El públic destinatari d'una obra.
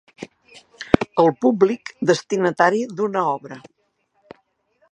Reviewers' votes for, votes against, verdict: 2, 0, accepted